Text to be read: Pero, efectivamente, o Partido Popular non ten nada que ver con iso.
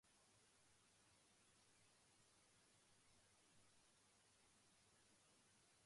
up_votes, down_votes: 0, 2